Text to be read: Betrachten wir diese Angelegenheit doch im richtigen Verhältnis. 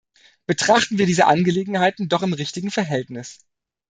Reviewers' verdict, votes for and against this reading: rejected, 1, 2